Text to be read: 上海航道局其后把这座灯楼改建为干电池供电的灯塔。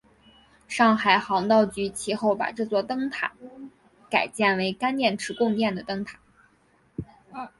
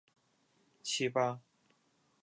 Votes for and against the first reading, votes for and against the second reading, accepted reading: 2, 0, 0, 2, first